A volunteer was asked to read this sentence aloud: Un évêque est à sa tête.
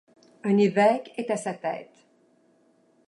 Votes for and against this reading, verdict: 2, 0, accepted